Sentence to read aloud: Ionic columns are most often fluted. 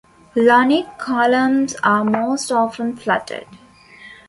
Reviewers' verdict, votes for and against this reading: rejected, 0, 2